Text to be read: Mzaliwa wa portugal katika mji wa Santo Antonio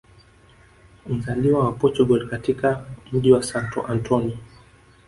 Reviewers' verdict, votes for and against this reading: accepted, 3, 0